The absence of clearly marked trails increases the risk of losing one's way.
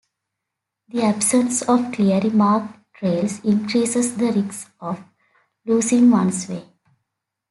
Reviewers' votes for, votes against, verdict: 2, 0, accepted